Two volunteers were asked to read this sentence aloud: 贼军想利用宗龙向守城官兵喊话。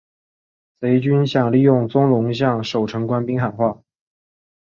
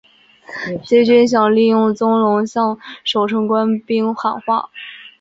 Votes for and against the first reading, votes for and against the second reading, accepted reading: 5, 0, 1, 2, first